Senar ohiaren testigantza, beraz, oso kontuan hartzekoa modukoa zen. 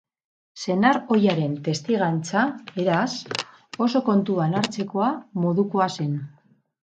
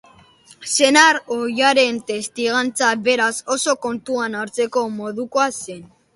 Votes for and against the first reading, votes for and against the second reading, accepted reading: 2, 2, 2, 0, second